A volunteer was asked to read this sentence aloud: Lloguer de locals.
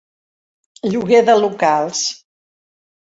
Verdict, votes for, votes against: accepted, 3, 0